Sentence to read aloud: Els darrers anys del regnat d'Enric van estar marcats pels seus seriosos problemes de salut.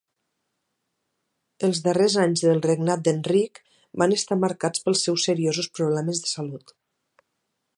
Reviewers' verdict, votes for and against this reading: accepted, 2, 0